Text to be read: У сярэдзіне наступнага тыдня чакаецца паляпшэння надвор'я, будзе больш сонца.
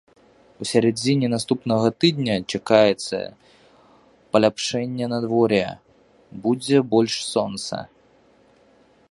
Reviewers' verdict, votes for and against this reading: rejected, 1, 2